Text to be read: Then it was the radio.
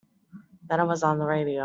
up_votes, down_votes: 1, 2